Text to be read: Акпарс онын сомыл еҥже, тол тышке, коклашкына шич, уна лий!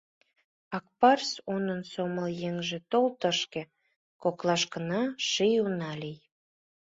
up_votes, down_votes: 1, 2